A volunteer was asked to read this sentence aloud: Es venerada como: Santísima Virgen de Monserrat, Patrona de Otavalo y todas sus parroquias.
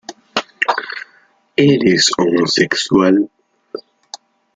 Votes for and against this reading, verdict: 0, 2, rejected